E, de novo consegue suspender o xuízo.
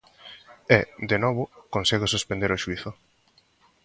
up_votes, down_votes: 1, 2